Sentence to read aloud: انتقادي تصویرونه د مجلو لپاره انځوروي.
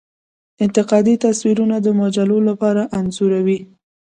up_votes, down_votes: 2, 0